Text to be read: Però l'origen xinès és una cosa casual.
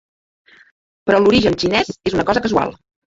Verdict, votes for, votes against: rejected, 1, 2